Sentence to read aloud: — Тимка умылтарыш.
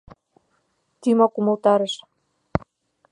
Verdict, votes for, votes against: rejected, 0, 2